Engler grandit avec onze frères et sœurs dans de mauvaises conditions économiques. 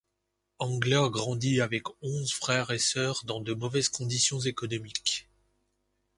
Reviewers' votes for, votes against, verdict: 2, 0, accepted